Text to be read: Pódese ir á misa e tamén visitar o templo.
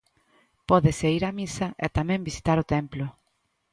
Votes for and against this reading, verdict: 2, 0, accepted